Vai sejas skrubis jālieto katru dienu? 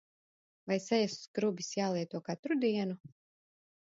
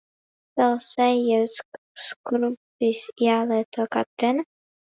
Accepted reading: first